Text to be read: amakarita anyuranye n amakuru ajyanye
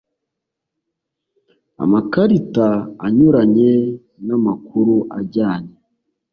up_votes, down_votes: 3, 0